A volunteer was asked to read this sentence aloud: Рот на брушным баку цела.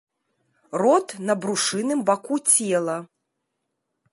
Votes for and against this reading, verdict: 1, 2, rejected